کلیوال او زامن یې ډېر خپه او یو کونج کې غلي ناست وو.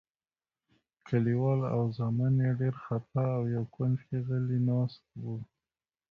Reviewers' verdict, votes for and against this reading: accepted, 2, 0